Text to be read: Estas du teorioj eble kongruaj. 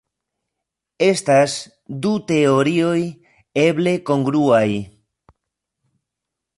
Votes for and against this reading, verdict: 0, 2, rejected